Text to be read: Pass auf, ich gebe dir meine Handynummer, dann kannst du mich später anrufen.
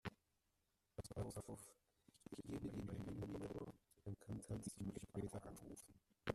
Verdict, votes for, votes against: rejected, 0, 2